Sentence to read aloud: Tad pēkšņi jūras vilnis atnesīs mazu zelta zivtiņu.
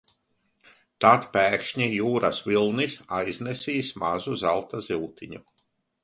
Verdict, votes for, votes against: rejected, 0, 2